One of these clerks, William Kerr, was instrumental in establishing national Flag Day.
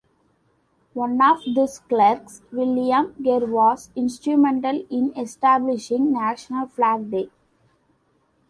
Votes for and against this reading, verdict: 2, 1, accepted